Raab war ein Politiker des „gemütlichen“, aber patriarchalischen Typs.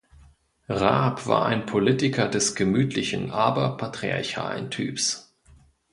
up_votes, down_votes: 0, 2